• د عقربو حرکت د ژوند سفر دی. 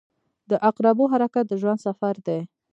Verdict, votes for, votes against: rejected, 1, 2